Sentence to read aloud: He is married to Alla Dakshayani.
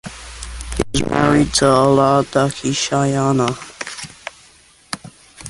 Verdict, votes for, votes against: rejected, 0, 2